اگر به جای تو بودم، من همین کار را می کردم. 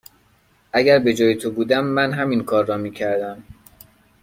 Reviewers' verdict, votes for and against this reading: accepted, 2, 0